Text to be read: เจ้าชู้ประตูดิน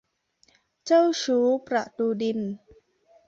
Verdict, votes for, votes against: accepted, 2, 0